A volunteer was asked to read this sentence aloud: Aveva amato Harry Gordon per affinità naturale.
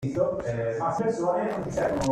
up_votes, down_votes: 0, 2